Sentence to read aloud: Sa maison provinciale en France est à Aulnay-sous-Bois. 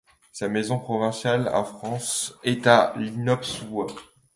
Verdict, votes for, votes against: rejected, 0, 2